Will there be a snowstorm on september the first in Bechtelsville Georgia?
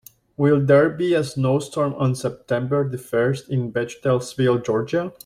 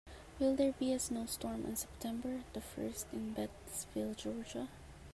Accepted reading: first